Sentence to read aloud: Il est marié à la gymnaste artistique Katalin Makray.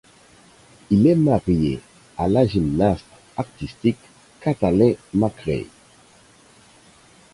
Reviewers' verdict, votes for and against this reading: rejected, 2, 4